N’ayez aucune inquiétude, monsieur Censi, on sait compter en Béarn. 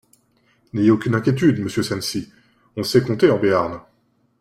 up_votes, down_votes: 2, 0